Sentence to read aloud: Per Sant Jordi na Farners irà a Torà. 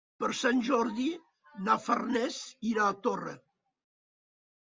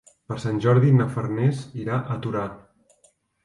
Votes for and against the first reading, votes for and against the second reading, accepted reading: 1, 2, 2, 0, second